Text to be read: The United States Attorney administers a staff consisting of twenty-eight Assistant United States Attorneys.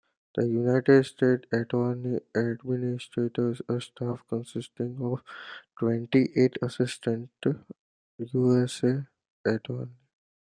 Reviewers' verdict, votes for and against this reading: rejected, 0, 2